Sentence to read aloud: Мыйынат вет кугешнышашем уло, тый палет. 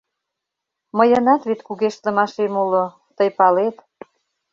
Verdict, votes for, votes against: rejected, 0, 2